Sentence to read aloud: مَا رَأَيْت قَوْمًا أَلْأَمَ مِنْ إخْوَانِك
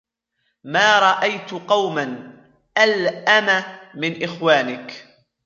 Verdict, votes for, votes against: accepted, 2, 0